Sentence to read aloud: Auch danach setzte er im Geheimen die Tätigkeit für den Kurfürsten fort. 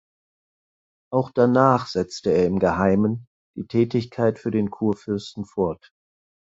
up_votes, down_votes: 6, 0